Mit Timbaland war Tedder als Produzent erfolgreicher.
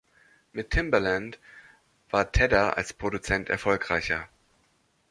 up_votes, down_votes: 2, 0